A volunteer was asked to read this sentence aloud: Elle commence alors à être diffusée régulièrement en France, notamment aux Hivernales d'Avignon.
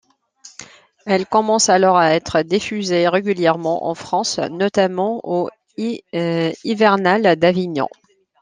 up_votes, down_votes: 0, 2